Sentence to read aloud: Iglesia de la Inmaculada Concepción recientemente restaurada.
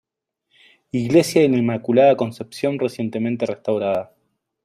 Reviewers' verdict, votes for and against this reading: rejected, 1, 2